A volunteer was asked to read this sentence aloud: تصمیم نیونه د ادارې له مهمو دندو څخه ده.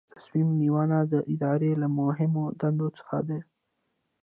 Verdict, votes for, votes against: accepted, 2, 0